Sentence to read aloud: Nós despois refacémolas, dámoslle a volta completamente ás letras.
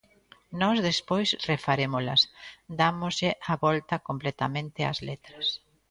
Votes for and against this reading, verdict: 0, 2, rejected